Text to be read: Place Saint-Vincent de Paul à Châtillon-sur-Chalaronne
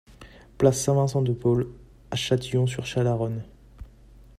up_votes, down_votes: 2, 0